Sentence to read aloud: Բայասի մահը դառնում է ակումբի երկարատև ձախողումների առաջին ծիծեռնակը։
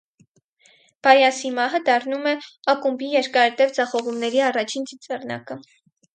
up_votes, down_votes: 4, 0